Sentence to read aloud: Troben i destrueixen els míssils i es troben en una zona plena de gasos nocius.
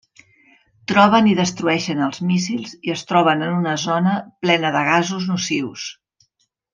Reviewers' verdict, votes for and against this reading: accepted, 3, 0